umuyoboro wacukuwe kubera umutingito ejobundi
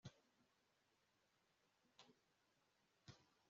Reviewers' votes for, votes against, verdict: 1, 2, rejected